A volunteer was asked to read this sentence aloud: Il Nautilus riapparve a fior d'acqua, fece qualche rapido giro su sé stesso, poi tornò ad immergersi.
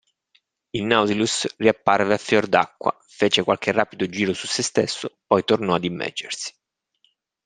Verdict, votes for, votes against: rejected, 0, 2